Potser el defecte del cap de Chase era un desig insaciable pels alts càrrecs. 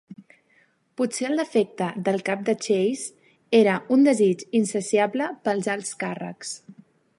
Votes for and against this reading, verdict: 2, 0, accepted